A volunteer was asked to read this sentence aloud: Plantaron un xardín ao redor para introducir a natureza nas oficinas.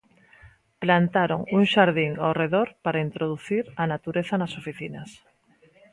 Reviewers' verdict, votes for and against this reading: accepted, 2, 0